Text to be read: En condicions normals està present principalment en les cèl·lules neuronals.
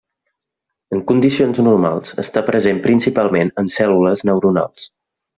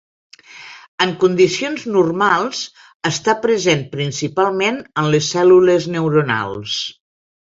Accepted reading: second